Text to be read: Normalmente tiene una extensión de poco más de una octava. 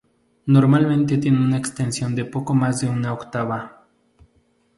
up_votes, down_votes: 2, 0